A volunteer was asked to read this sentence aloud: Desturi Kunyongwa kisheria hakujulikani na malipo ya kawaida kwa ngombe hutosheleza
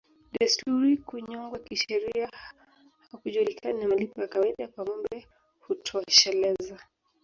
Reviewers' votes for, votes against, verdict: 1, 2, rejected